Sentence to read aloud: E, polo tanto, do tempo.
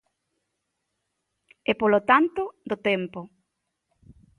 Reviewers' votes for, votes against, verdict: 3, 0, accepted